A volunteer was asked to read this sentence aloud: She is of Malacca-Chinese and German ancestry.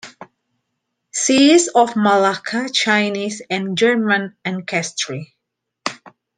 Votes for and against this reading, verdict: 0, 2, rejected